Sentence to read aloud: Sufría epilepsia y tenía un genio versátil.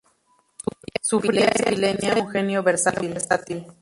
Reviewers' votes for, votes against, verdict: 0, 4, rejected